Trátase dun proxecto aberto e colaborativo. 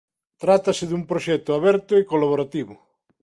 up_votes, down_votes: 2, 0